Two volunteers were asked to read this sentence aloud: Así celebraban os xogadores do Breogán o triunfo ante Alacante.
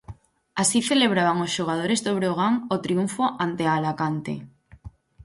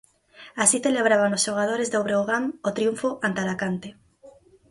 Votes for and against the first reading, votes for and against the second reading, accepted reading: 4, 0, 2, 4, first